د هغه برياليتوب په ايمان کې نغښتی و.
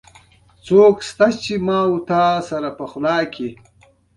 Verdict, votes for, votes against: rejected, 0, 2